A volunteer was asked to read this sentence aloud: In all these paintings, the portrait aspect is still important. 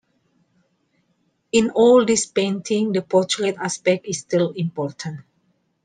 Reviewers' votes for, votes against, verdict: 2, 1, accepted